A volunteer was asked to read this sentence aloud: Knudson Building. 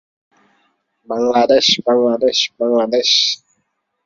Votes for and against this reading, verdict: 0, 2, rejected